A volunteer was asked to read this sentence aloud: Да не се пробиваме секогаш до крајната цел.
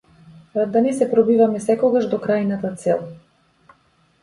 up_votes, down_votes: 0, 2